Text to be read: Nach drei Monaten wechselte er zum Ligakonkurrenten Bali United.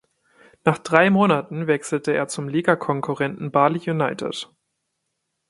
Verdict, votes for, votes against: accepted, 2, 0